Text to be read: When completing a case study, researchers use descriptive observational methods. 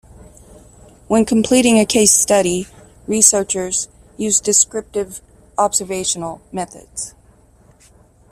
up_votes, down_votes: 2, 0